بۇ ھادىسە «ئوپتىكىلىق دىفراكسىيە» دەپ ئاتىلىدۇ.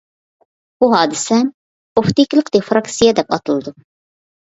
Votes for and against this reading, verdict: 2, 0, accepted